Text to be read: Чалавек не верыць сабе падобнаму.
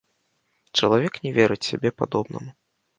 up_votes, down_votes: 0, 2